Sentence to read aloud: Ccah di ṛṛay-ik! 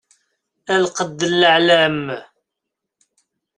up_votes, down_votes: 0, 2